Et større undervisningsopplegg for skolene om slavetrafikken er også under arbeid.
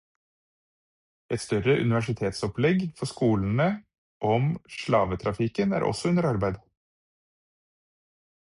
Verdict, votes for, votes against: rejected, 2, 4